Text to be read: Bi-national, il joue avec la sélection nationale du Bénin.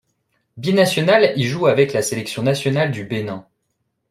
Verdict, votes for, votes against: accepted, 2, 0